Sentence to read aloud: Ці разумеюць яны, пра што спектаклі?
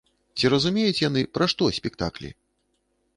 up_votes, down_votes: 2, 0